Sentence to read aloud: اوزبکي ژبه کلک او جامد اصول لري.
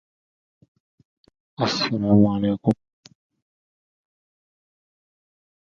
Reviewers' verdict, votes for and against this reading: rejected, 0, 2